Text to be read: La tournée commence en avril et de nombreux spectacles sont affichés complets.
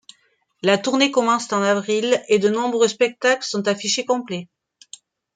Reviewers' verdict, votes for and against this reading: rejected, 1, 2